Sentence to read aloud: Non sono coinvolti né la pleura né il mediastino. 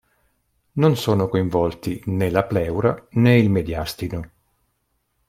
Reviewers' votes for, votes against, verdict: 1, 2, rejected